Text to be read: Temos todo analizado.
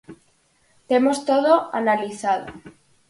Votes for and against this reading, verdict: 4, 0, accepted